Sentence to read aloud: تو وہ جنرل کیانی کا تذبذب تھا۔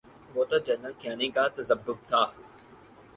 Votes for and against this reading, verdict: 4, 0, accepted